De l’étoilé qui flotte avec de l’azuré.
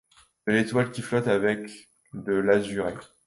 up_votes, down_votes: 0, 2